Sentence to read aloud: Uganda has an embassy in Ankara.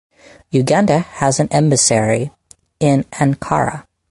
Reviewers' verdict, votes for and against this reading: rejected, 2, 4